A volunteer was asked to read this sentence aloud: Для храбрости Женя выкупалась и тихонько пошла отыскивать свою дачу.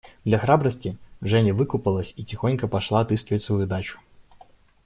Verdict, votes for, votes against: accepted, 2, 0